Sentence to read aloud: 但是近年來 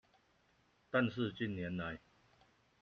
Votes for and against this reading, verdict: 2, 1, accepted